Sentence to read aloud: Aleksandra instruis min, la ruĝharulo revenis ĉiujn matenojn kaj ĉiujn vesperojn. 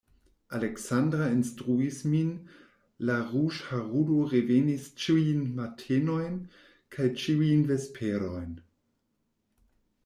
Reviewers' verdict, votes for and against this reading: rejected, 1, 2